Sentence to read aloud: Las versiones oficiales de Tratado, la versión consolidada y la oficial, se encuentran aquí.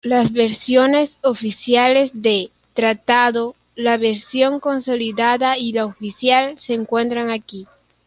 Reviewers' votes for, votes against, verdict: 0, 2, rejected